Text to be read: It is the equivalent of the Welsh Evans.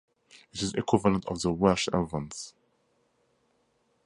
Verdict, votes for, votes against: accepted, 2, 0